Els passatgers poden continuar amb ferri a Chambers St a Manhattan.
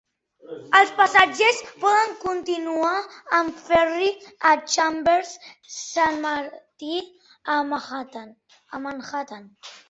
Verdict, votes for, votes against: rejected, 0, 2